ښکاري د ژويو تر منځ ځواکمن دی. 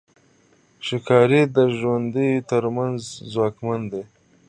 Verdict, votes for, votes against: accepted, 2, 0